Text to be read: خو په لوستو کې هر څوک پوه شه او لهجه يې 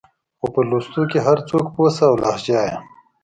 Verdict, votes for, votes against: accepted, 2, 0